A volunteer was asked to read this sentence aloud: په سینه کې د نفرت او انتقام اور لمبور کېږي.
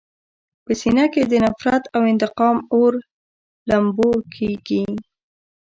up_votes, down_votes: 1, 2